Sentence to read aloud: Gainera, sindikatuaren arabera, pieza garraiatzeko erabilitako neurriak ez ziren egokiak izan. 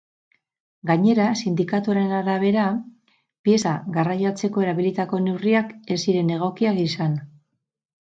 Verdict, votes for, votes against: accepted, 2, 0